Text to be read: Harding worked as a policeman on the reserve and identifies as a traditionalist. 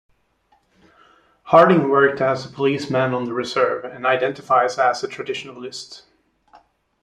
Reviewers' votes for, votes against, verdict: 2, 0, accepted